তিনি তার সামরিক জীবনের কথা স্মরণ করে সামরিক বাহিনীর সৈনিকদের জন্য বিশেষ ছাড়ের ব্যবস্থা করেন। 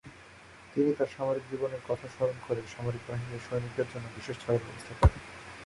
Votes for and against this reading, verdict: 2, 0, accepted